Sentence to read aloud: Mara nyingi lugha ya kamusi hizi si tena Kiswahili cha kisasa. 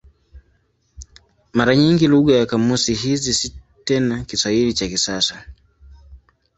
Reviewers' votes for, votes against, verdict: 2, 1, accepted